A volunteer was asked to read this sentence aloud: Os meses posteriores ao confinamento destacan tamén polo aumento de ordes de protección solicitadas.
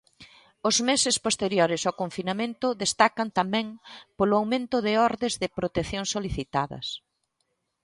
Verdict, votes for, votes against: accepted, 2, 0